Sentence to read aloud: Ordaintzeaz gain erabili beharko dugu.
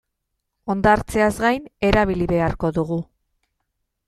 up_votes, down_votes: 0, 2